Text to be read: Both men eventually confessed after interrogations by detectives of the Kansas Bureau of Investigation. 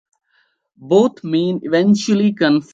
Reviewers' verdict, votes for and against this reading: rejected, 0, 2